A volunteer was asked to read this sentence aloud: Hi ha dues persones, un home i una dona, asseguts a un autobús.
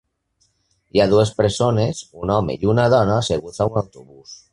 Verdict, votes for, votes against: rejected, 1, 2